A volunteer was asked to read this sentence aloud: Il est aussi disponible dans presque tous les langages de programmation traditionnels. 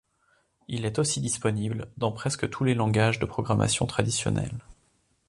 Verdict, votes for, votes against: accepted, 2, 0